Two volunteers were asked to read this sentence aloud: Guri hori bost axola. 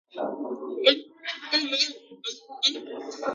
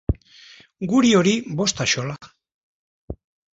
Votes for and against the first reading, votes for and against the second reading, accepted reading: 0, 3, 2, 0, second